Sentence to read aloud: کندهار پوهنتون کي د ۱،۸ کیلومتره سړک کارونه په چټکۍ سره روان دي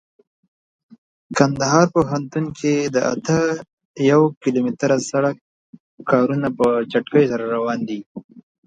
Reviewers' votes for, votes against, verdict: 0, 2, rejected